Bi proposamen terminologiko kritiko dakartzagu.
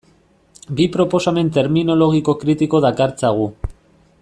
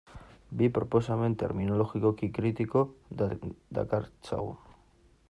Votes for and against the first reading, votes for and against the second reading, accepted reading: 2, 0, 1, 2, first